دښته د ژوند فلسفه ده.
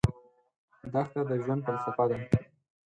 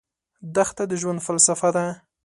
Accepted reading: second